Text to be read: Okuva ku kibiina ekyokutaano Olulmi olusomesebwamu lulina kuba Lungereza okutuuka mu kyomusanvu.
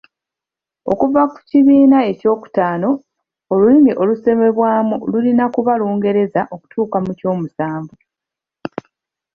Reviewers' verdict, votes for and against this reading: rejected, 1, 2